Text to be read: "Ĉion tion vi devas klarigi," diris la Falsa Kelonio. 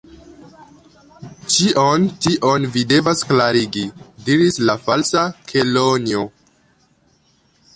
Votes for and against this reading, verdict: 3, 1, accepted